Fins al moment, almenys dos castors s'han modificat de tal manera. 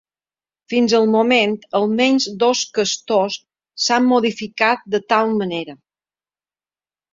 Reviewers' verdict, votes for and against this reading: accepted, 2, 0